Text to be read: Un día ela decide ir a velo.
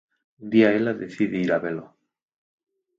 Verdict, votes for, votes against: accepted, 4, 2